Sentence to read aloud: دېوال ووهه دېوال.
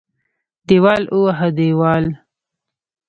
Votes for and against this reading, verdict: 1, 2, rejected